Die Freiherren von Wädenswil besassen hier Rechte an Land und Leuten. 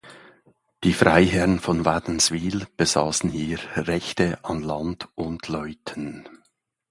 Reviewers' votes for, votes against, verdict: 1, 2, rejected